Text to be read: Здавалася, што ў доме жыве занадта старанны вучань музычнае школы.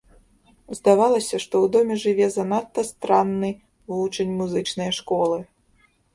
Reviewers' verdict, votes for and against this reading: rejected, 1, 2